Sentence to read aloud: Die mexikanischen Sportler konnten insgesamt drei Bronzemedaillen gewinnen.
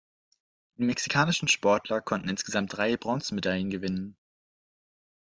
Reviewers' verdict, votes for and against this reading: rejected, 1, 2